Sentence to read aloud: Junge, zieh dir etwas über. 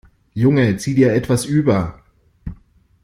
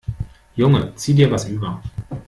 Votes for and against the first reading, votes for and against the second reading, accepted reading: 3, 0, 1, 2, first